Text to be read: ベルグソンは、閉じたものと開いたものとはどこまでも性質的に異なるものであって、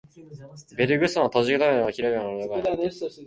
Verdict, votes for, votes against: rejected, 0, 3